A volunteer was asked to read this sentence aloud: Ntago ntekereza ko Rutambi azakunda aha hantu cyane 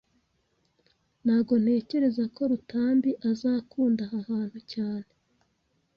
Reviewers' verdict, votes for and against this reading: accepted, 2, 0